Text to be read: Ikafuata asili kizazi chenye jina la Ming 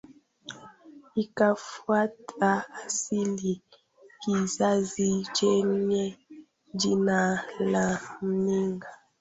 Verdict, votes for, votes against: rejected, 1, 2